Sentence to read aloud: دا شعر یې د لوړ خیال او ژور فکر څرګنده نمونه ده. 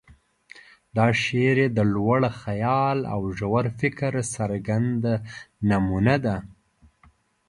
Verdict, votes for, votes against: accepted, 2, 0